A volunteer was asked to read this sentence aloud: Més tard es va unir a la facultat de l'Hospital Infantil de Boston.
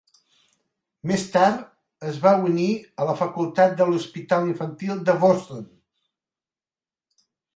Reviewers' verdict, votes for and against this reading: accepted, 2, 1